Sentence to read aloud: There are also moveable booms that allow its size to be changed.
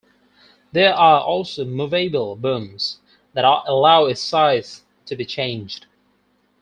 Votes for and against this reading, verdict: 2, 4, rejected